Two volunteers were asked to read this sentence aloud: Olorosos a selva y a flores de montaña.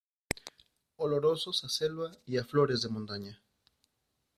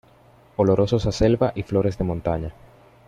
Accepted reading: first